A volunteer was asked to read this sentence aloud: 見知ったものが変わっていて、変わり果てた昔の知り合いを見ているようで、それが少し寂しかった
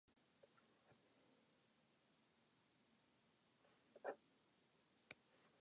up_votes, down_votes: 1, 2